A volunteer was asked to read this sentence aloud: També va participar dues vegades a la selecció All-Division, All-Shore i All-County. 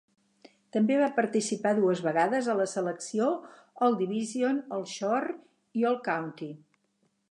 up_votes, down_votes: 4, 0